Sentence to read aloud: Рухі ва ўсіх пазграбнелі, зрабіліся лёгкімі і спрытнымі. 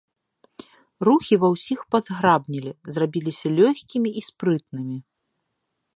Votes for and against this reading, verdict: 2, 0, accepted